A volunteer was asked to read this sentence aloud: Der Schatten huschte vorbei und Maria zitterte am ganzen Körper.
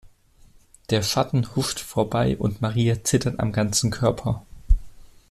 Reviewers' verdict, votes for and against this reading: rejected, 1, 2